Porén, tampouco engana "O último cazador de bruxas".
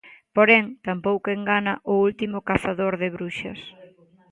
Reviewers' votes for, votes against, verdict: 2, 0, accepted